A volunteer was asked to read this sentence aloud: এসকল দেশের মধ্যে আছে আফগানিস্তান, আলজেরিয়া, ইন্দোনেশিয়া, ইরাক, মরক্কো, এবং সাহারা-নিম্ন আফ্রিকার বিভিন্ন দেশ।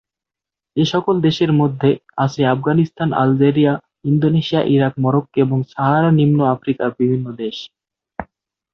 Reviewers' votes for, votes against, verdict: 2, 0, accepted